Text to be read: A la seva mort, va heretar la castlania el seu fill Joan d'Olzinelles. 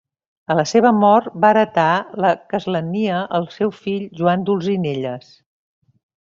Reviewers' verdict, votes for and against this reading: rejected, 1, 2